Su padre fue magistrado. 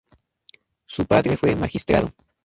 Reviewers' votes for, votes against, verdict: 2, 0, accepted